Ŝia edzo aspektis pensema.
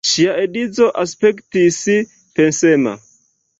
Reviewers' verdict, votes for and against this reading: accepted, 3, 0